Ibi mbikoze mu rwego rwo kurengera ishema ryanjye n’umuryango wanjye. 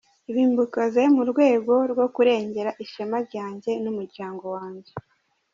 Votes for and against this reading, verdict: 3, 0, accepted